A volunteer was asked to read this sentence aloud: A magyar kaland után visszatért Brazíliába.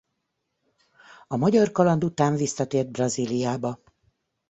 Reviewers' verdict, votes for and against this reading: accepted, 2, 0